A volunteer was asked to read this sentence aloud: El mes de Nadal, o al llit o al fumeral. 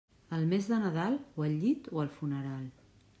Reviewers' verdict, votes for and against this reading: rejected, 1, 2